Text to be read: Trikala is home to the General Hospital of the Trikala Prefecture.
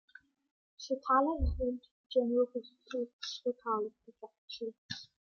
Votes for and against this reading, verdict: 0, 2, rejected